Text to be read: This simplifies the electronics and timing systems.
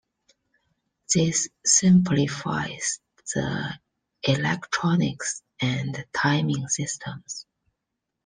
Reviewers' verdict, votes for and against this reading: accepted, 2, 1